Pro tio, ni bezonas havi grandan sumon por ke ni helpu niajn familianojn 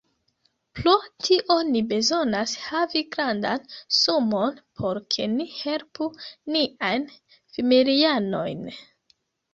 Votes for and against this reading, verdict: 0, 2, rejected